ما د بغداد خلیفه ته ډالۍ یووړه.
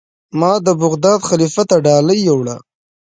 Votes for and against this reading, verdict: 0, 2, rejected